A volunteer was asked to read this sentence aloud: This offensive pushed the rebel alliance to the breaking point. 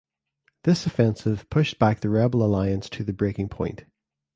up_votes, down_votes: 0, 2